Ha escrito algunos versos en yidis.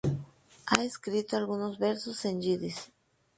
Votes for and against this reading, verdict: 2, 0, accepted